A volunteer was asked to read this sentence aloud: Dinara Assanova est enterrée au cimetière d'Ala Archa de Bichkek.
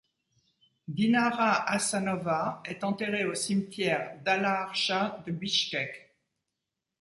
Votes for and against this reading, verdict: 2, 0, accepted